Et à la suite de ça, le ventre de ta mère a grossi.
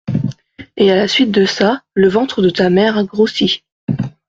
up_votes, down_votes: 2, 0